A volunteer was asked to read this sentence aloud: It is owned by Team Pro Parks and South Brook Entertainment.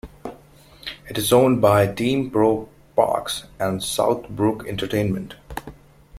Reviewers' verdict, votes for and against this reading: accepted, 2, 1